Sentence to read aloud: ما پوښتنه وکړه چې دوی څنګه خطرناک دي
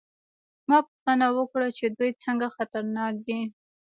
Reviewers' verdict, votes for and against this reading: accepted, 2, 1